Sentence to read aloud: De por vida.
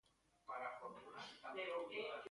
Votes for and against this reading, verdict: 0, 2, rejected